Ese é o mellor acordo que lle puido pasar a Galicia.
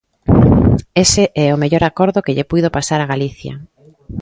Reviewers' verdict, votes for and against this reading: accepted, 2, 1